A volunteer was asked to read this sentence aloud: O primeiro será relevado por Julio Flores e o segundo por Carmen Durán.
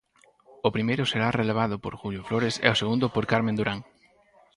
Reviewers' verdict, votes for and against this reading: accepted, 4, 0